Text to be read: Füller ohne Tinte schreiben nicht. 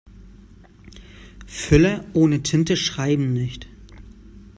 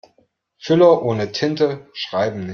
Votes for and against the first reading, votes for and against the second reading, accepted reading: 2, 0, 0, 2, first